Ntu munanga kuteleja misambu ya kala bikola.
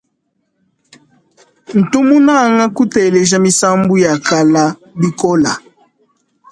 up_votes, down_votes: 2, 0